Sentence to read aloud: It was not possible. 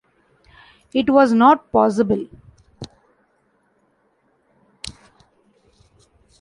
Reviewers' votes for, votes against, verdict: 2, 1, accepted